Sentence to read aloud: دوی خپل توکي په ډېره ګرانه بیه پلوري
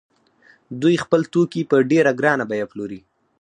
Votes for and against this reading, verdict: 2, 4, rejected